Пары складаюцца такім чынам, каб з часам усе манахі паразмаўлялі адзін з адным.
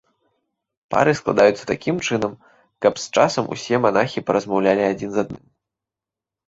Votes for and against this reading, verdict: 1, 2, rejected